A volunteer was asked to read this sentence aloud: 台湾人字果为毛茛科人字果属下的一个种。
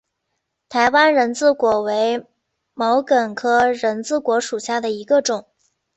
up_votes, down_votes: 3, 0